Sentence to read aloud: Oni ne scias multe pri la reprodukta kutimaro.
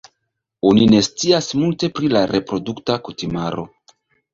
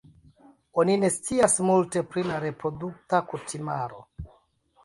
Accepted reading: first